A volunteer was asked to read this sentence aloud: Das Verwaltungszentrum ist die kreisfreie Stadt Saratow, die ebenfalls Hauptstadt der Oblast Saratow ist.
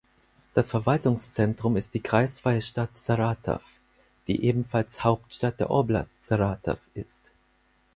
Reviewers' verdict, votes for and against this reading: accepted, 4, 0